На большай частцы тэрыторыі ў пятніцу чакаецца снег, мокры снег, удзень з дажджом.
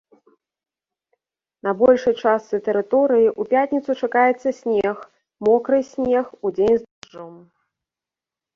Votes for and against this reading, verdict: 1, 2, rejected